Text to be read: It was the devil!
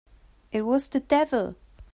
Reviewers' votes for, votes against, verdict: 4, 0, accepted